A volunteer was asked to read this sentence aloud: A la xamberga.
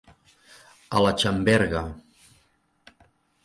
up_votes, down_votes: 2, 0